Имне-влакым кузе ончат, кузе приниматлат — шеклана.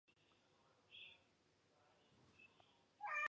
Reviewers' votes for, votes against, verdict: 1, 2, rejected